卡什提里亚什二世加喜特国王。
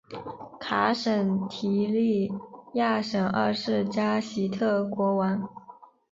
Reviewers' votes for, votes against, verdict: 2, 0, accepted